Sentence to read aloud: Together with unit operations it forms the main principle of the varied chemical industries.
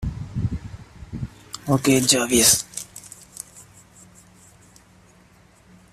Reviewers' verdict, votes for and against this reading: rejected, 0, 2